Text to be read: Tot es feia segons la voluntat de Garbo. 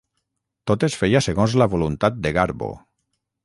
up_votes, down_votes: 6, 0